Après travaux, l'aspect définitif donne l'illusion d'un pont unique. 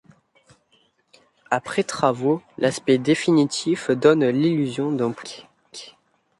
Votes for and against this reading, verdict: 1, 2, rejected